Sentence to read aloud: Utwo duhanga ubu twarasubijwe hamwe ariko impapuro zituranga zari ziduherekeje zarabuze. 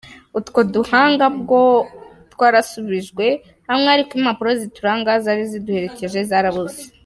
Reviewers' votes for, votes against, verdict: 1, 2, rejected